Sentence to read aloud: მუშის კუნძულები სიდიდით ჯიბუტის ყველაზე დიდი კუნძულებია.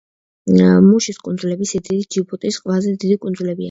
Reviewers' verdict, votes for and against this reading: accepted, 2, 0